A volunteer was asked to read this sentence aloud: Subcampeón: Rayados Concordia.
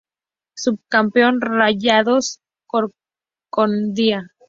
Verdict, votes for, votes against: accepted, 4, 0